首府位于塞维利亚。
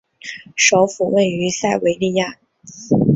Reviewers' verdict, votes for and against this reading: rejected, 1, 2